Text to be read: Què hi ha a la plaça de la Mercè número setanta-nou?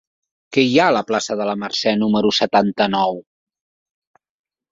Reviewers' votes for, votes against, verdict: 4, 0, accepted